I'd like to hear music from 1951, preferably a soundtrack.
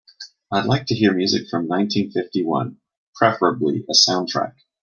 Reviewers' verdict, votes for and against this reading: rejected, 0, 2